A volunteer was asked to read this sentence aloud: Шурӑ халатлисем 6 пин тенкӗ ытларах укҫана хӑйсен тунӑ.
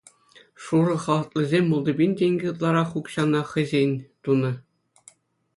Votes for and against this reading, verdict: 0, 2, rejected